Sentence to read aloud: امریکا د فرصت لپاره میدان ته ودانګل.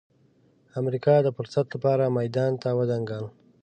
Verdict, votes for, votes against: accepted, 3, 0